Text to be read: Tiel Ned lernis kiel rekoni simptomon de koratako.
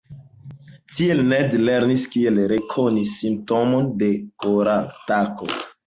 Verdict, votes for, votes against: accepted, 2, 0